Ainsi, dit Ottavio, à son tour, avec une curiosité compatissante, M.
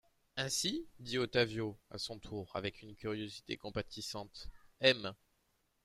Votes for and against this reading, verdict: 2, 0, accepted